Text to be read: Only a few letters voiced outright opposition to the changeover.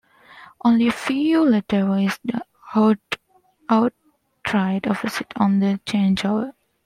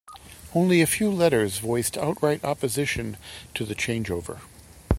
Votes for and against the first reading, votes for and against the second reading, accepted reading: 0, 2, 3, 0, second